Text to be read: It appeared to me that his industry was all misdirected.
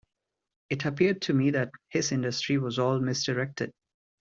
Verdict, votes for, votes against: accepted, 2, 0